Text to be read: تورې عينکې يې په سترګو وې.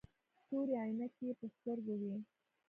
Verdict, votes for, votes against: accepted, 2, 0